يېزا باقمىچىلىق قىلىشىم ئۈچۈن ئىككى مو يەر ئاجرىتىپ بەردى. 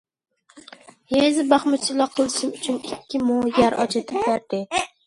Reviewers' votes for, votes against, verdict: 1, 2, rejected